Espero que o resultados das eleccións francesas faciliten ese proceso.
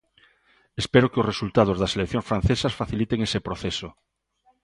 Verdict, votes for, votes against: accepted, 2, 0